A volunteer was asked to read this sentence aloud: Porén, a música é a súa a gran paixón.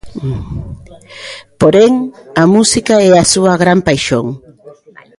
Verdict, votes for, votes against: rejected, 0, 2